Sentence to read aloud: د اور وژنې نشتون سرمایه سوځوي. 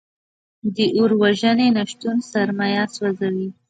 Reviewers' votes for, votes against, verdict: 0, 2, rejected